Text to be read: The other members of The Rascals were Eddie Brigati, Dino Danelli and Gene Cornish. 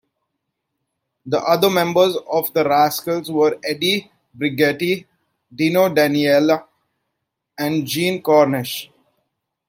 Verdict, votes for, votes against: accepted, 2, 0